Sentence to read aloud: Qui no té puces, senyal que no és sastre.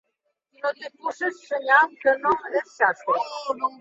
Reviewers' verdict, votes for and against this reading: rejected, 1, 2